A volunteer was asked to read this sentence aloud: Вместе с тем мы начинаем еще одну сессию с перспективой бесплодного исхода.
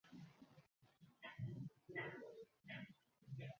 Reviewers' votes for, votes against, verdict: 0, 2, rejected